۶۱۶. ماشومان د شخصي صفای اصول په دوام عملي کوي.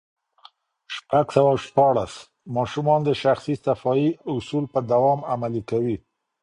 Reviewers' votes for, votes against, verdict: 0, 2, rejected